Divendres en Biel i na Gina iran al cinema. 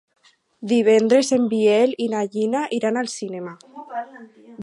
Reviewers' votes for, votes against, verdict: 4, 0, accepted